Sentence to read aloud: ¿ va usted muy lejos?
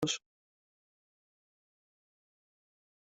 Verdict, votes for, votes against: rejected, 0, 2